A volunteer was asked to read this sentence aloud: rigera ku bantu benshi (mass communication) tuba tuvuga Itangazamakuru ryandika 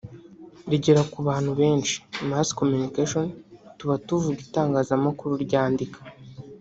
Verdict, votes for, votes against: accepted, 2, 0